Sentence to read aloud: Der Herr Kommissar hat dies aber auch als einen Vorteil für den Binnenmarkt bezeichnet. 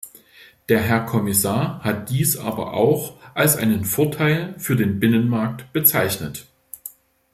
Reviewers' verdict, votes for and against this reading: accepted, 2, 0